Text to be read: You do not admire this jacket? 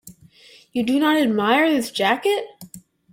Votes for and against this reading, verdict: 2, 0, accepted